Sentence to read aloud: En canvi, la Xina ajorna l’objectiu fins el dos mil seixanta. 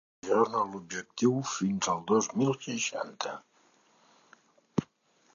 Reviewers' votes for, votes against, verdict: 0, 2, rejected